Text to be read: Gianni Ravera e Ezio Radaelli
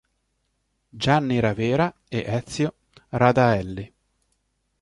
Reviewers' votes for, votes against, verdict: 2, 0, accepted